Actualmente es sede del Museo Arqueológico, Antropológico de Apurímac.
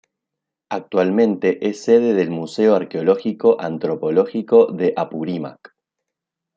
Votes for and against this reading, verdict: 2, 0, accepted